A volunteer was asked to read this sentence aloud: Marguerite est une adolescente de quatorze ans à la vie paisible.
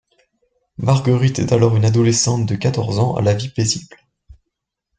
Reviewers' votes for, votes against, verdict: 0, 2, rejected